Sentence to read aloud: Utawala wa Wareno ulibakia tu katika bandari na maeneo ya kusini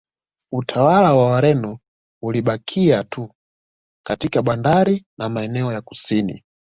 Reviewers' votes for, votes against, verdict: 2, 0, accepted